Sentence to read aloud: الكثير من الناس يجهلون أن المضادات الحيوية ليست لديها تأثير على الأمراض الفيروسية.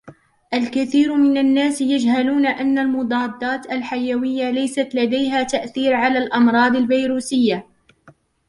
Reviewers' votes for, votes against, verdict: 1, 2, rejected